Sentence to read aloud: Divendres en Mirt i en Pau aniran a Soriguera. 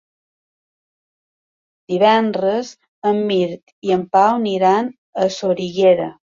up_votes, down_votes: 3, 0